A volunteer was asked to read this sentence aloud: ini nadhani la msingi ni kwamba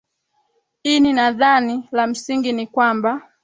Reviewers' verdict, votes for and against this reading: accepted, 4, 0